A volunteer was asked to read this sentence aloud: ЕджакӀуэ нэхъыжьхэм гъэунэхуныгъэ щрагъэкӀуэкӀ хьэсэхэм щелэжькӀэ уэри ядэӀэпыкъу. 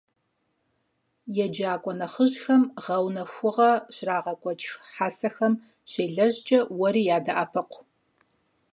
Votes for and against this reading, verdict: 2, 4, rejected